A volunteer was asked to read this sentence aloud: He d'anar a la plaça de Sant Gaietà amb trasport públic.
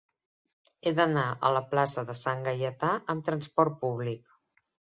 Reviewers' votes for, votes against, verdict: 3, 0, accepted